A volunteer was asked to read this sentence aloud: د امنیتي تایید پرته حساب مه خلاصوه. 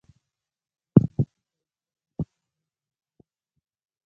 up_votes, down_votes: 0, 2